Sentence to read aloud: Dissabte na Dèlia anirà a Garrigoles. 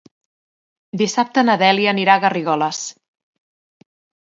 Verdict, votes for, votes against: accepted, 2, 0